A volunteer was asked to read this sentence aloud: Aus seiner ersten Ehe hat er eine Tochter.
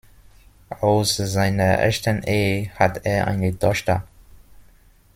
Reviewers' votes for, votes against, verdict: 1, 2, rejected